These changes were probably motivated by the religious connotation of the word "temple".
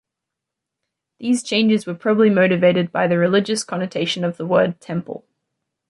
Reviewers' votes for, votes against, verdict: 2, 0, accepted